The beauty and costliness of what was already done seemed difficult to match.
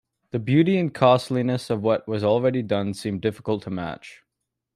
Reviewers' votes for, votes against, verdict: 3, 0, accepted